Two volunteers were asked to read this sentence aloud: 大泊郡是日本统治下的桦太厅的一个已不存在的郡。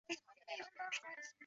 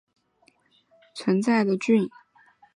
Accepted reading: first